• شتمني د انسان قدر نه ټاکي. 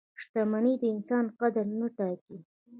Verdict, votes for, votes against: rejected, 1, 2